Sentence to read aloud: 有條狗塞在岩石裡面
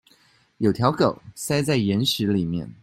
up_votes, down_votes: 2, 0